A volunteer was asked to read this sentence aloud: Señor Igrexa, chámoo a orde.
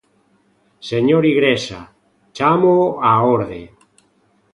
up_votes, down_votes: 2, 0